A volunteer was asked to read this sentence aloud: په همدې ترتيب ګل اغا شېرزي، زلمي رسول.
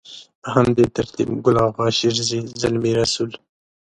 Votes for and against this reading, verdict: 3, 0, accepted